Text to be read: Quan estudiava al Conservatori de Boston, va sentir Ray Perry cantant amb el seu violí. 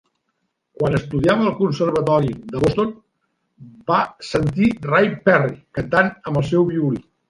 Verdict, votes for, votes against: accepted, 2, 0